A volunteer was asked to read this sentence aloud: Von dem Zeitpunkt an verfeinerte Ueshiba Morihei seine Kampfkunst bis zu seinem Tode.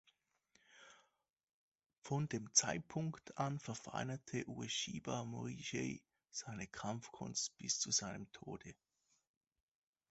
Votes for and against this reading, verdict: 2, 0, accepted